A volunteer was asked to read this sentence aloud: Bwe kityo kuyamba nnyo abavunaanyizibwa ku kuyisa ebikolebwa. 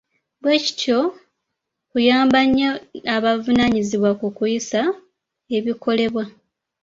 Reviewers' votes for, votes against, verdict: 1, 2, rejected